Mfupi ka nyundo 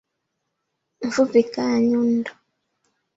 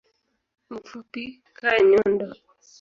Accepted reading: second